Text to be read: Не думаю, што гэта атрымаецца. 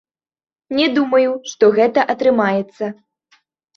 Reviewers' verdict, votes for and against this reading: accepted, 2, 0